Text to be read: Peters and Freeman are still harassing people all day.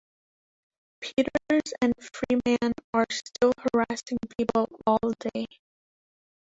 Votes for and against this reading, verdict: 0, 2, rejected